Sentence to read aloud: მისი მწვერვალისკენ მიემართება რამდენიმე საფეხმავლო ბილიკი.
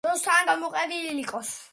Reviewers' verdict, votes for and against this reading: rejected, 1, 2